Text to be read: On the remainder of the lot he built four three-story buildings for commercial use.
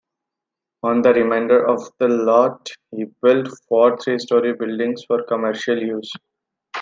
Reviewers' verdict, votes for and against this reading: accepted, 2, 0